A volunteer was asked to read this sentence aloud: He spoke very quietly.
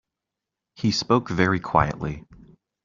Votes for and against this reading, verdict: 2, 0, accepted